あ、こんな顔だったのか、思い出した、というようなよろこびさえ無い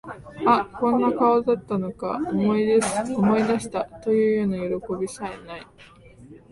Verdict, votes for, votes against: rejected, 0, 3